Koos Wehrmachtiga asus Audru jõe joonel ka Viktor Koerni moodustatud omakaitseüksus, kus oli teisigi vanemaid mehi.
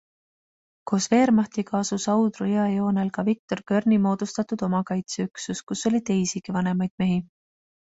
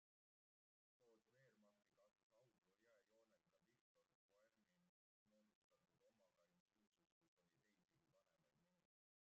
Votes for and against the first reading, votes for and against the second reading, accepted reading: 2, 0, 0, 2, first